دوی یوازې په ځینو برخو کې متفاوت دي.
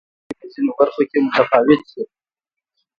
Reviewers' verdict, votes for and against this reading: rejected, 1, 2